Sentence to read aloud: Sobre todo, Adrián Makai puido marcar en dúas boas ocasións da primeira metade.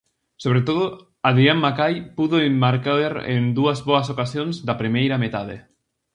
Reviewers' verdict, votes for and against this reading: accepted, 2, 0